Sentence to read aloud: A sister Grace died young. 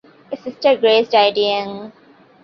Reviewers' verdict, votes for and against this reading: accepted, 2, 1